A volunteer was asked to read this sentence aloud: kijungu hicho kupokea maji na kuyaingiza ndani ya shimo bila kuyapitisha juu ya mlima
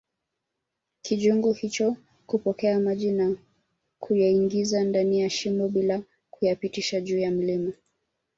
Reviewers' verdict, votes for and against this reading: accepted, 2, 0